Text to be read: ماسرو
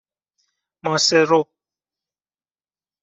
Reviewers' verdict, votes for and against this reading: accepted, 2, 0